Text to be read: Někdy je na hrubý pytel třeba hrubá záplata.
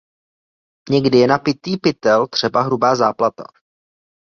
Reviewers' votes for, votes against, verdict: 0, 2, rejected